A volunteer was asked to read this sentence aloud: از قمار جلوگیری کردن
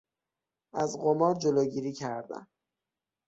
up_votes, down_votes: 3, 6